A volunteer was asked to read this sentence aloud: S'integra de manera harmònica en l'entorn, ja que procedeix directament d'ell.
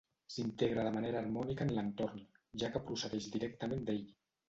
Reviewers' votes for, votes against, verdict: 0, 2, rejected